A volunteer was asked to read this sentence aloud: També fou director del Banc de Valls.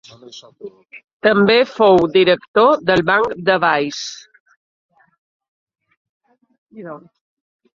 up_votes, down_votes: 2, 1